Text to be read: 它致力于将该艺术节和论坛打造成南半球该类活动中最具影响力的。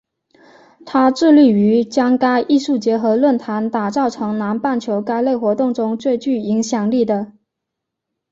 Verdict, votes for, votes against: accepted, 2, 0